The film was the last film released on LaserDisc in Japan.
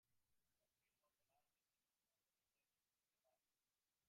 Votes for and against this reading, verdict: 0, 2, rejected